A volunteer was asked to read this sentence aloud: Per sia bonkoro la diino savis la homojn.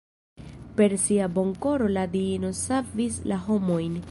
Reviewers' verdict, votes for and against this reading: rejected, 1, 2